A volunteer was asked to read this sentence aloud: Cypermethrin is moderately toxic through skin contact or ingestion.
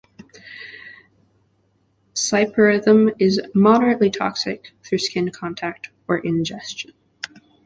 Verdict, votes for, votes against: rejected, 1, 2